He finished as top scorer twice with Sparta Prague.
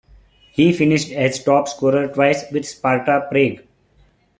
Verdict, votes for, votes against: accepted, 2, 0